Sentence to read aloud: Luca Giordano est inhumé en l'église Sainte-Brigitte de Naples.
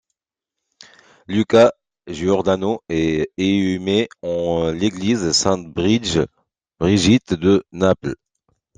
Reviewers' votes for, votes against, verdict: 1, 2, rejected